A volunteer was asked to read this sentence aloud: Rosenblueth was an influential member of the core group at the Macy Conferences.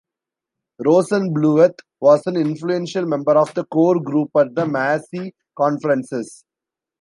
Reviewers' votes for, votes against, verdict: 0, 2, rejected